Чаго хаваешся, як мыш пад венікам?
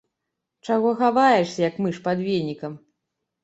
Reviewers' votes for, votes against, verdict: 3, 0, accepted